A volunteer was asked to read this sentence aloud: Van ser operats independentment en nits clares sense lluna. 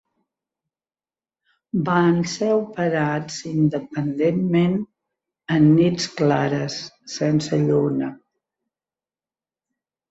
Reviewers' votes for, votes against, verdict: 3, 0, accepted